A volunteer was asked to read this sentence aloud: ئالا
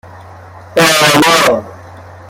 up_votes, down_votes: 1, 2